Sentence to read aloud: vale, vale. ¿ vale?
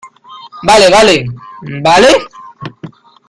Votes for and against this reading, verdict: 1, 2, rejected